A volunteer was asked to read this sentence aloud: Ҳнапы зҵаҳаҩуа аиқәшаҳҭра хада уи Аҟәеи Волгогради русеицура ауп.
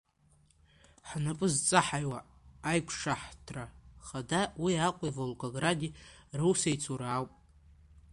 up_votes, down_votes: 1, 2